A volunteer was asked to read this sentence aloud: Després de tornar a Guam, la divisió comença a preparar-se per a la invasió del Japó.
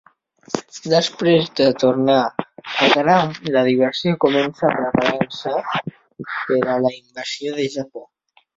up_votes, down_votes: 0, 2